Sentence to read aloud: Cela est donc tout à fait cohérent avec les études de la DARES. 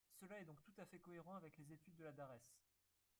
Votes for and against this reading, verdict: 0, 3, rejected